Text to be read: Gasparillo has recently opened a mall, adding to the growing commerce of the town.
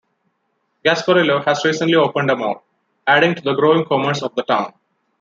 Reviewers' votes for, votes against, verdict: 2, 0, accepted